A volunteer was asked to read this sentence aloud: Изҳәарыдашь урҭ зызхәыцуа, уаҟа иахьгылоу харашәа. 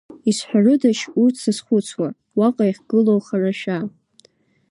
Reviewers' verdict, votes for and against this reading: accepted, 2, 0